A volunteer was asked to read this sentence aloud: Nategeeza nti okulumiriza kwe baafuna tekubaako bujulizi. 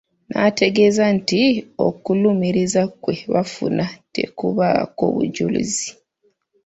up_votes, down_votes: 1, 2